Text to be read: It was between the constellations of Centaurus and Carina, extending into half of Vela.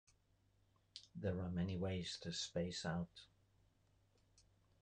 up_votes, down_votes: 0, 2